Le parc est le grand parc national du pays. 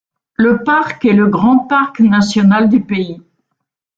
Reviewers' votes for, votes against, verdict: 2, 0, accepted